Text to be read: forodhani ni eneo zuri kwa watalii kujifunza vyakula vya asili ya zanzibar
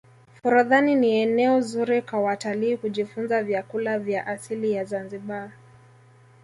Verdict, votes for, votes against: accepted, 2, 0